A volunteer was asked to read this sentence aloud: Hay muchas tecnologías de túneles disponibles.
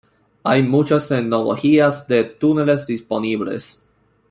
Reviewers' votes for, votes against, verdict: 0, 2, rejected